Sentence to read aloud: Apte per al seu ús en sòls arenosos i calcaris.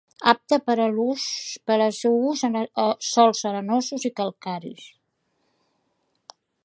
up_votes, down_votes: 0, 3